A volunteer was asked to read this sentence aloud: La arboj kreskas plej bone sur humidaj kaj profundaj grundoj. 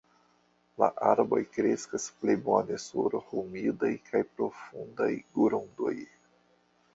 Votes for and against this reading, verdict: 0, 2, rejected